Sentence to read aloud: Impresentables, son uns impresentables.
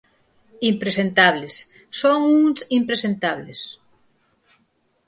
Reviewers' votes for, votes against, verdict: 4, 0, accepted